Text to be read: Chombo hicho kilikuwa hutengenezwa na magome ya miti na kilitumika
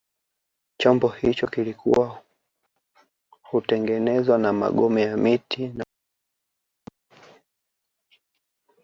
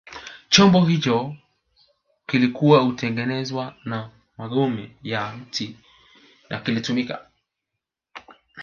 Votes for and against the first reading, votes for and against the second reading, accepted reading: 0, 2, 2, 1, second